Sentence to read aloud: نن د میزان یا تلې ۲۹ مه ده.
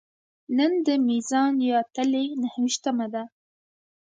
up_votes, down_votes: 0, 2